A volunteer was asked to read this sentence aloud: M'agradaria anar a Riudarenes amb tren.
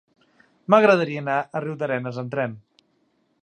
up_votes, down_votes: 4, 0